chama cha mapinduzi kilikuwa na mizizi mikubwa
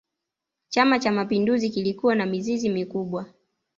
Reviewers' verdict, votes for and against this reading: accepted, 2, 0